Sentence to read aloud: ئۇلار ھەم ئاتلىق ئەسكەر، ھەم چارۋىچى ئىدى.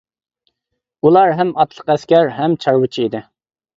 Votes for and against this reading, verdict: 2, 0, accepted